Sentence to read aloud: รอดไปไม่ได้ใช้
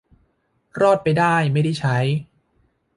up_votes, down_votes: 1, 2